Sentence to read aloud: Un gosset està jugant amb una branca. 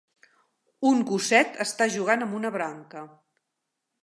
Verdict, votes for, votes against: accepted, 3, 0